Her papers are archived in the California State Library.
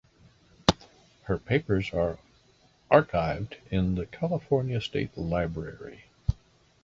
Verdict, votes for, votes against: accepted, 2, 0